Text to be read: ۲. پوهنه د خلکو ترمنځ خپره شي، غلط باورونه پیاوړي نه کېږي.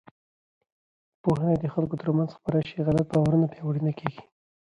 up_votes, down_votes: 0, 2